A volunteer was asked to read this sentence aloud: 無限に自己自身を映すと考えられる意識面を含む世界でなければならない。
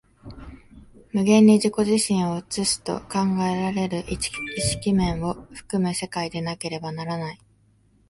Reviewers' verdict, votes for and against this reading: rejected, 0, 2